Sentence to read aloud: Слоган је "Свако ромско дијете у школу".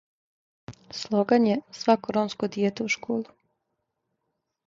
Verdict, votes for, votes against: accepted, 2, 0